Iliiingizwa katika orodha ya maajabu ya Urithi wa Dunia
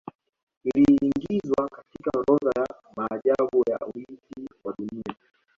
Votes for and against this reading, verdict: 0, 2, rejected